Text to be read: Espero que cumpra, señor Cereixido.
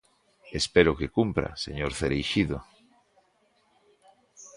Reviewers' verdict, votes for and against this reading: accepted, 2, 0